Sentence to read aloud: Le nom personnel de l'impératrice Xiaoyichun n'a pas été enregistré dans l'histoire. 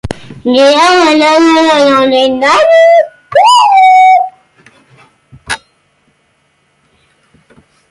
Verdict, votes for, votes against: rejected, 0, 3